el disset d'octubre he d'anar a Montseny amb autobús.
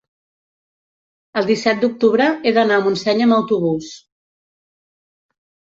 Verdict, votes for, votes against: rejected, 1, 2